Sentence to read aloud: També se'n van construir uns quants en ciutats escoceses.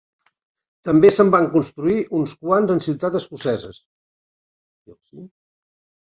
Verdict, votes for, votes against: accepted, 2, 1